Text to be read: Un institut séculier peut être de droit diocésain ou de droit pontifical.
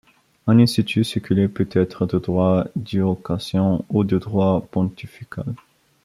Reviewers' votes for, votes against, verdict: 0, 2, rejected